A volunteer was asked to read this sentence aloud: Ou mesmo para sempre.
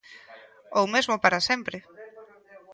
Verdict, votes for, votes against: rejected, 0, 2